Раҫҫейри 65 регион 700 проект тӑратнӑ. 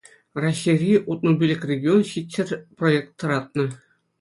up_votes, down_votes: 0, 2